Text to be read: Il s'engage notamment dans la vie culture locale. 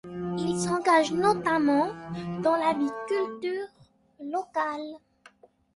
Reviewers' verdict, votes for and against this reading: accepted, 2, 0